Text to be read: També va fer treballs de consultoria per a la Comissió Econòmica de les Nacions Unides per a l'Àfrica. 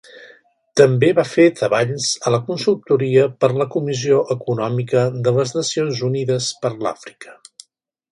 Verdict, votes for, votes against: rejected, 0, 2